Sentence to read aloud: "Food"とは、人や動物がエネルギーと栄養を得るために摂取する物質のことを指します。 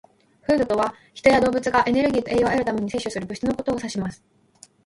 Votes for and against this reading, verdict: 2, 1, accepted